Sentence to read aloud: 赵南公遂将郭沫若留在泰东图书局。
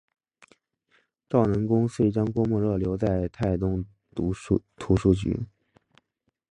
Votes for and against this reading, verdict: 5, 0, accepted